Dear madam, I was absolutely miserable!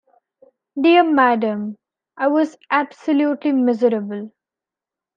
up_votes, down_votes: 2, 0